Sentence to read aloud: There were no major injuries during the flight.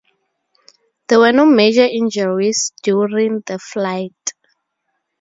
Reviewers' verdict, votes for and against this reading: accepted, 4, 0